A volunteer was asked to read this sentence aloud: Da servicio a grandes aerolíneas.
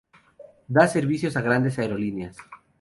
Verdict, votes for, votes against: rejected, 0, 2